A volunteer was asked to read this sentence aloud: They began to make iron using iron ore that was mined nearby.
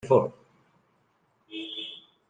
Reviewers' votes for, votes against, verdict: 0, 2, rejected